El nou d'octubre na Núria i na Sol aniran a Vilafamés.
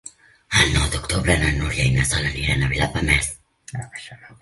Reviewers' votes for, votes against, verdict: 0, 2, rejected